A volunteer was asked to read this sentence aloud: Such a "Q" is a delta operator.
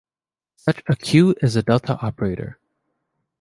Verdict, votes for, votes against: accepted, 2, 0